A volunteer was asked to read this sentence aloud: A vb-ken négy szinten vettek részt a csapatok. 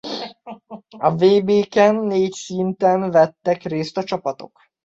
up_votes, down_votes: 0, 2